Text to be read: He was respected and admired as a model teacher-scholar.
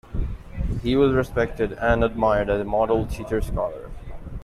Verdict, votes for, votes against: accepted, 2, 0